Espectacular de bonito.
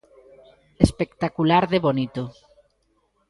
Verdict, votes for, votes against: accepted, 2, 0